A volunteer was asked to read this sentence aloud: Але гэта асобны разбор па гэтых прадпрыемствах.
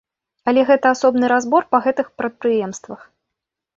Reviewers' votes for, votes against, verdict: 2, 0, accepted